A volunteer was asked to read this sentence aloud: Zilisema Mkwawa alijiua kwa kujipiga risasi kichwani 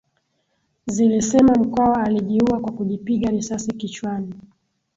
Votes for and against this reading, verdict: 13, 4, accepted